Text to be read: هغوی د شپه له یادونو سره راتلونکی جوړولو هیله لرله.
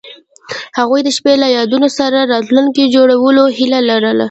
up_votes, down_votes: 1, 2